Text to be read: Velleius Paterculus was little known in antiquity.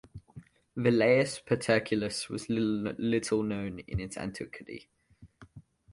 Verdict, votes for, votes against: rejected, 0, 2